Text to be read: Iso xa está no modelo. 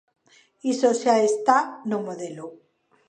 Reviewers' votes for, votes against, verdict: 1, 2, rejected